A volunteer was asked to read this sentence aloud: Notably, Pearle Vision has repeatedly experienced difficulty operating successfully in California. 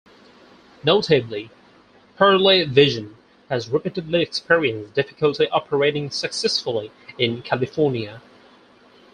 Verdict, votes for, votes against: rejected, 0, 4